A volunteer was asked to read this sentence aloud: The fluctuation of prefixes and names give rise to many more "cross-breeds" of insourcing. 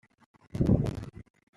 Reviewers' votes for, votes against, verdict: 0, 2, rejected